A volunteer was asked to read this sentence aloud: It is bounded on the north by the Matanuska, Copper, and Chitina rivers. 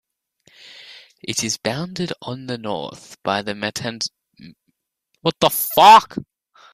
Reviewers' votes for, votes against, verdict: 0, 2, rejected